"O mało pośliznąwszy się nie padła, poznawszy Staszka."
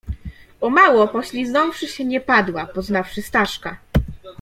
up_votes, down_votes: 2, 0